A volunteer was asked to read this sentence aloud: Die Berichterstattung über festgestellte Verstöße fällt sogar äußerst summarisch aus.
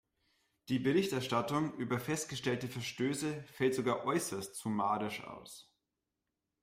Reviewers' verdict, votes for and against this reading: accepted, 2, 0